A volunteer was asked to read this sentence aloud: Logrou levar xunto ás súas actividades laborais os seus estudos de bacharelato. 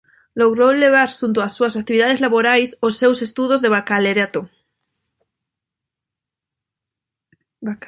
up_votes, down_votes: 0, 2